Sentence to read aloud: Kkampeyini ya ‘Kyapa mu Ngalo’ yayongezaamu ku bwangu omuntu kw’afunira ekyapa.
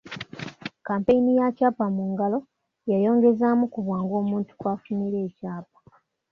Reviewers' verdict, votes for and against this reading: accepted, 2, 0